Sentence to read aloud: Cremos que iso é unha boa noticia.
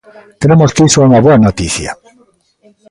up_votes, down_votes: 1, 3